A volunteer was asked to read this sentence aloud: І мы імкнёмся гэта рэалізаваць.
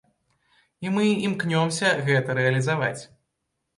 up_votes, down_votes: 2, 0